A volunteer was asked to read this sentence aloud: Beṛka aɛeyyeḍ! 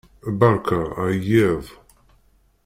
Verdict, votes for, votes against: rejected, 0, 2